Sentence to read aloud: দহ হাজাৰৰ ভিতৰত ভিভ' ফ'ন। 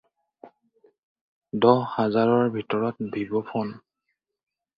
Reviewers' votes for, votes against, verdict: 4, 0, accepted